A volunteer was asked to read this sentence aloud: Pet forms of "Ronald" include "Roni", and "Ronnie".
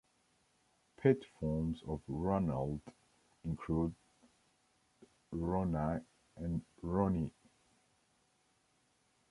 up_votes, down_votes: 1, 2